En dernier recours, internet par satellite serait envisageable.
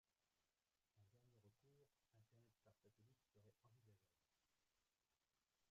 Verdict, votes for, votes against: rejected, 0, 2